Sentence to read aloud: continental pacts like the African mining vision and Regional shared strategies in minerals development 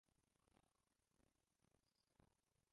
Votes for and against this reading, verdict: 0, 2, rejected